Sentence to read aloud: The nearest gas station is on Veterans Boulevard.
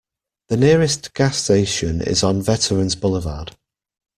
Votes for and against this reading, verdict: 2, 0, accepted